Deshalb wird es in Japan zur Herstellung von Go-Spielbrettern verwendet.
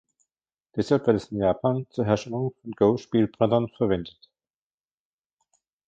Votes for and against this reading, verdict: 2, 1, accepted